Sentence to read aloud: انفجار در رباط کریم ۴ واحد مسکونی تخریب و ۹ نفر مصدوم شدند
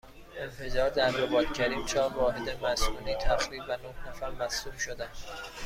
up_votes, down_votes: 0, 2